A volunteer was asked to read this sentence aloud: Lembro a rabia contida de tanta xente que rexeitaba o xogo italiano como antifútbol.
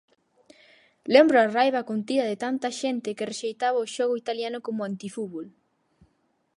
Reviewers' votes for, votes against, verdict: 2, 4, rejected